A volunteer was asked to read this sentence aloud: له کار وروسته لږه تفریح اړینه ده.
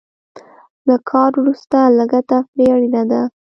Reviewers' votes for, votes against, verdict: 2, 0, accepted